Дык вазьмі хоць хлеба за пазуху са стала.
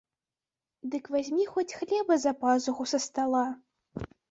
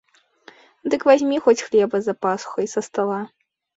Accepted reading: first